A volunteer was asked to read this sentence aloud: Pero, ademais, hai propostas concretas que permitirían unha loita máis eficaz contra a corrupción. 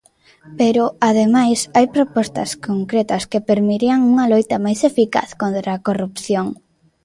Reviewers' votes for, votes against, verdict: 0, 2, rejected